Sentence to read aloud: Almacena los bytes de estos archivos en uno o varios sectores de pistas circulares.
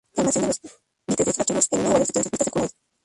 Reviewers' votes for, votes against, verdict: 0, 2, rejected